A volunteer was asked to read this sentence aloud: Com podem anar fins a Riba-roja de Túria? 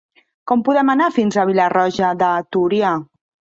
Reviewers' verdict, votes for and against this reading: rejected, 1, 2